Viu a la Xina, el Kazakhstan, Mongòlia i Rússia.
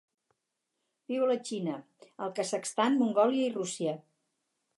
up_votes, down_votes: 4, 0